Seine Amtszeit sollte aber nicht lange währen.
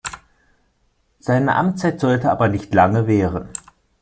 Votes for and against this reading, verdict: 2, 0, accepted